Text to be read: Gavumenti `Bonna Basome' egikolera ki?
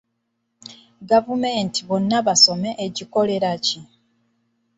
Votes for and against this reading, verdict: 2, 1, accepted